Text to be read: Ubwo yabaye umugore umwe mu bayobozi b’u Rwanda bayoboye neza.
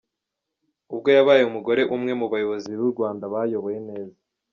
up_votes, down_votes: 0, 2